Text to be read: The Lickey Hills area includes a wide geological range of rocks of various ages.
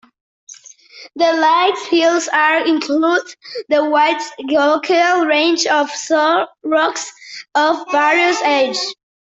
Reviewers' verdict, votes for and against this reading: rejected, 0, 2